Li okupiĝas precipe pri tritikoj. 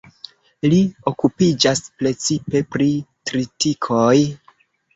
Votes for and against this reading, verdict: 2, 1, accepted